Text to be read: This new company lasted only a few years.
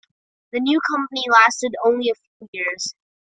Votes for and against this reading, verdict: 1, 2, rejected